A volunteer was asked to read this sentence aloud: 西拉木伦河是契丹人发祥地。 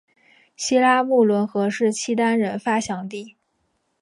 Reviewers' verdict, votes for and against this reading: accepted, 3, 0